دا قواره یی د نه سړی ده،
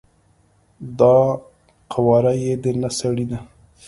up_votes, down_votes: 2, 0